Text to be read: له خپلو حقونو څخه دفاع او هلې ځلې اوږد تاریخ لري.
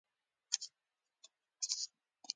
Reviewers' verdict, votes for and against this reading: rejected, 1, 2